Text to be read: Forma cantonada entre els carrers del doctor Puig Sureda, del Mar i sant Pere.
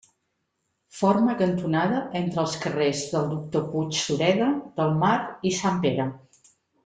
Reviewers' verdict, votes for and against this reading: accepted, 3, 0